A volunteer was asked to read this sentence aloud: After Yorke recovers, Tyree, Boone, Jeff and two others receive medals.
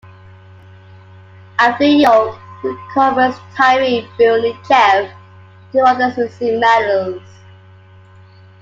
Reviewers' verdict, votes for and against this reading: accepted, 2, 1